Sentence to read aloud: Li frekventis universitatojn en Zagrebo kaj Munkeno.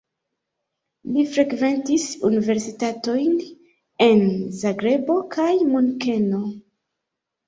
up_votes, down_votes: 1, 2